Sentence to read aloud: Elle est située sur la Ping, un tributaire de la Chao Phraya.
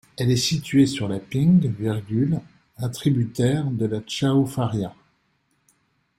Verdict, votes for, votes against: rejected, 0, 2